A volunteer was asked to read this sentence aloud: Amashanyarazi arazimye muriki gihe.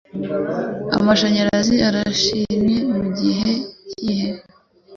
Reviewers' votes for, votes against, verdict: 1, 2, rejected